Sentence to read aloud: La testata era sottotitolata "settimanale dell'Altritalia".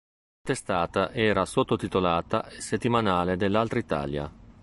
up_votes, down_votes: 1, 2